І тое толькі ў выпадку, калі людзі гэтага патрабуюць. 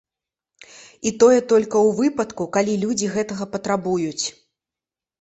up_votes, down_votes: 1, 2